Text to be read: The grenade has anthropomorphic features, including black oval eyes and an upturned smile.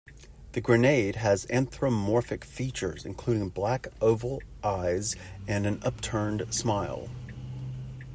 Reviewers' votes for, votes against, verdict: 0, 2, rejected